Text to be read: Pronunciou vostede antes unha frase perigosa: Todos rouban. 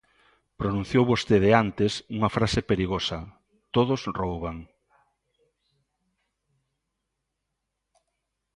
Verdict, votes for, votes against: accepted, 2, 0